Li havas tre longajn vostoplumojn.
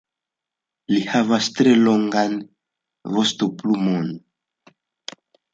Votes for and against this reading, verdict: 1, 2, rejected